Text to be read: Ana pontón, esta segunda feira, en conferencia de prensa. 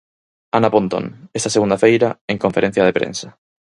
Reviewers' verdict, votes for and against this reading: rejected, 2, 4